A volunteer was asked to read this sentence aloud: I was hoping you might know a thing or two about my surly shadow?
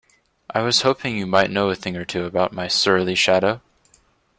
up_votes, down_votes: 2, 0